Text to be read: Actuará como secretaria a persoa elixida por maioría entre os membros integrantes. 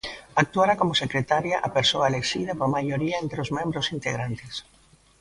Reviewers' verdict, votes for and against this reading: rejected, 1, 2